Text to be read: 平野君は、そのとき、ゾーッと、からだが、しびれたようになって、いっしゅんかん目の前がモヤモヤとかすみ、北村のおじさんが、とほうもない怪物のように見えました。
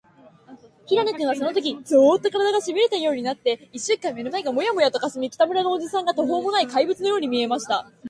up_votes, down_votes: 2, 1